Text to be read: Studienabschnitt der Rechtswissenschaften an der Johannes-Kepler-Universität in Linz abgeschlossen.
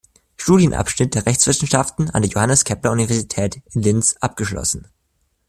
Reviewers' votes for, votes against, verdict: 2, 0, accepted